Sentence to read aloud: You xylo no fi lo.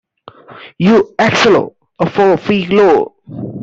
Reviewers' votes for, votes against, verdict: 0, 2, rejected